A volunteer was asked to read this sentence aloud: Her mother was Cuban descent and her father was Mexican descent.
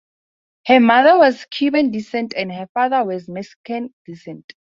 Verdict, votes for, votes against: accepted, 2, 0